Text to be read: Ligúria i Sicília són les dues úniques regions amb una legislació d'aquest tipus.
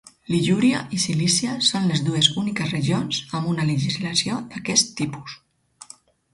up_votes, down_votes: 2, 4